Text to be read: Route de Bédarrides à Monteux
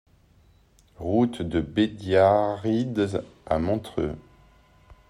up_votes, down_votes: 0, 2